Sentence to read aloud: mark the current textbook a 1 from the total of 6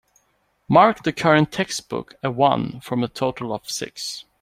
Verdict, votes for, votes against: rejected, 0, 2